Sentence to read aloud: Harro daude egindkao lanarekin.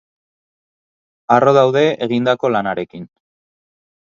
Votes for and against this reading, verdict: 4, 0, accepted